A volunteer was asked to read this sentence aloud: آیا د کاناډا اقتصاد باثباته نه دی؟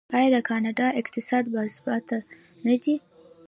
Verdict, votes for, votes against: rejected, 1, 2